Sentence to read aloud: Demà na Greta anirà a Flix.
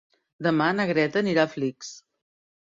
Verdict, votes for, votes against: rejected, 1, 2